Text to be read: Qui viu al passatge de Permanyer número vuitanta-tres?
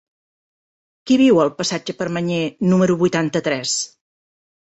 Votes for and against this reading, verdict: 1, 2, rejected